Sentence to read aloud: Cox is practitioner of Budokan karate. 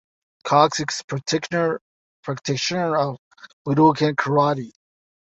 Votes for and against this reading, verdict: 1, 2, rejected